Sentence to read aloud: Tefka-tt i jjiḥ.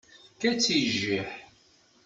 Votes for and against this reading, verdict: 2, 0, accepted